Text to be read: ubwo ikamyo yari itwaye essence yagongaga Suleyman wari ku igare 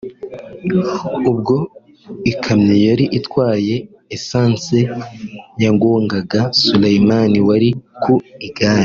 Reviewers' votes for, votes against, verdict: 2, 1, accepted